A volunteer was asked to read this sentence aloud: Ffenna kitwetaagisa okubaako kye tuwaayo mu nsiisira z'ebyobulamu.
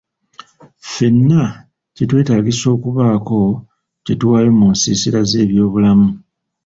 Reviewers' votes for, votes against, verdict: 2, 0, accepted